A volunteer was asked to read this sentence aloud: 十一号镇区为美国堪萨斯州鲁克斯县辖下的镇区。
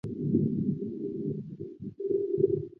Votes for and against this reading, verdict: 0, 2, rejected